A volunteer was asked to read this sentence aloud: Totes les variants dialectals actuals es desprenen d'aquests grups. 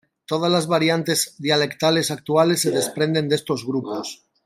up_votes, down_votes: 0, 2